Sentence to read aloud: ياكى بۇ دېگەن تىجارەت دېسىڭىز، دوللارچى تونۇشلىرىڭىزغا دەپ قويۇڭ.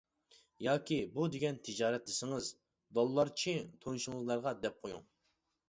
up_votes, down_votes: 1, 2